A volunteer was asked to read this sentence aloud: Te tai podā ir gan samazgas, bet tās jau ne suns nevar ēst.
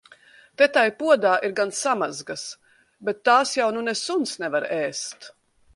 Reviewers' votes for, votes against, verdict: 0, 2, rejected